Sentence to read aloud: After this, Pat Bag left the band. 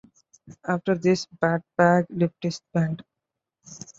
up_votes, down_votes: 1, 2